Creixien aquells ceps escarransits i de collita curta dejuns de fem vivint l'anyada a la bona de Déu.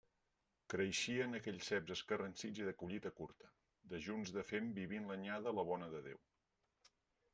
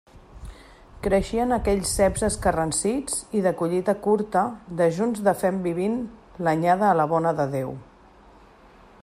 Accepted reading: second